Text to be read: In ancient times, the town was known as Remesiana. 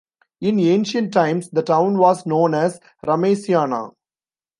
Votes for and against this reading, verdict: 2, 0, accepted